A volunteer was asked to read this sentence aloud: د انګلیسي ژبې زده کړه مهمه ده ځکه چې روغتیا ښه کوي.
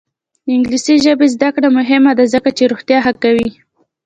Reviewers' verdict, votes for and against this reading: accepted, 2, 0